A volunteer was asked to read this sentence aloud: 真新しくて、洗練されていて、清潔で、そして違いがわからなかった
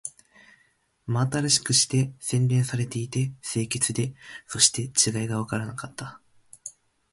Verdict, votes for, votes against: rejected, 0, 2